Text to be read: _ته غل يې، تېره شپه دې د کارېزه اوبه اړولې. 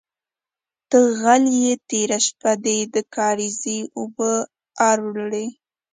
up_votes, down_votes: 1, 2